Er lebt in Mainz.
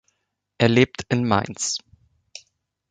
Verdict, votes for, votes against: accepted, 2, 0